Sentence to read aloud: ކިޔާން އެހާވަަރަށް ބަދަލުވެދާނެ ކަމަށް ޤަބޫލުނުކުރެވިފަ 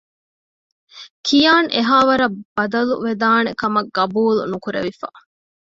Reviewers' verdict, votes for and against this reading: accepted, 2, 0